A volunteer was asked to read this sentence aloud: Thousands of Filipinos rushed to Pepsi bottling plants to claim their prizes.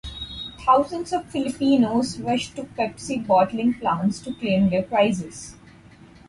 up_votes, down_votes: 4, 0